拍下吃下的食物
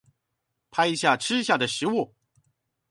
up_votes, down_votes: 2, 0